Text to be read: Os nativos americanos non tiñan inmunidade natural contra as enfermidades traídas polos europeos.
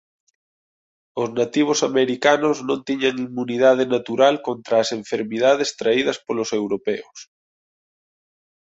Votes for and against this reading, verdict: 2, 3, rejected